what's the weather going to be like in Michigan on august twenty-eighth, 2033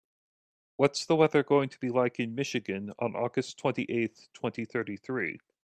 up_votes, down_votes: 0, 2